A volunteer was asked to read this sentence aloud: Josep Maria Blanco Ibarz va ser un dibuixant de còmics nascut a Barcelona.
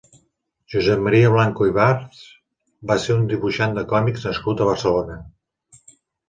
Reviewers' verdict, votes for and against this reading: accepted, 2, 0